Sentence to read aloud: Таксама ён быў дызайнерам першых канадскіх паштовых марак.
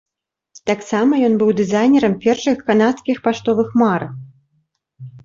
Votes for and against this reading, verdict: 3, 0, accepted